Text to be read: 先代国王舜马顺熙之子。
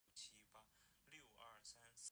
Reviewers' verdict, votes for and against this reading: rejected, 0, 4